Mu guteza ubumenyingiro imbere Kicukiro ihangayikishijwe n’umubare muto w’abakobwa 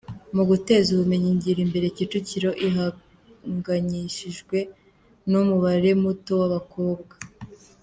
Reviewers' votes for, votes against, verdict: 2, 1, accepted